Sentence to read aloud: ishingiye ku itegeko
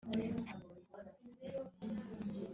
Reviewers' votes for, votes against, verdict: 0, 4, rejected